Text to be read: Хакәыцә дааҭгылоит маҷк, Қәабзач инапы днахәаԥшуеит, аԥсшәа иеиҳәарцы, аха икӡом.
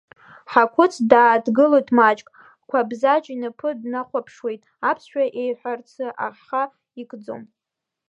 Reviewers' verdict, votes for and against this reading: rejected, 0, 2